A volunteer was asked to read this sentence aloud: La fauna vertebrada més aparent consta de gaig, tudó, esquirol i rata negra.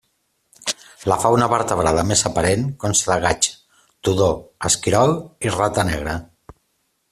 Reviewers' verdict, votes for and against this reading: accepted, 2, 0